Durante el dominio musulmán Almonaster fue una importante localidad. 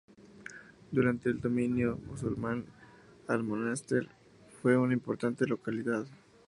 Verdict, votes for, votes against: accepted, 4, 0